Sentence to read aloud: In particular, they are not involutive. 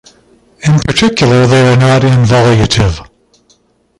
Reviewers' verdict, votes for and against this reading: rejected, 0, 2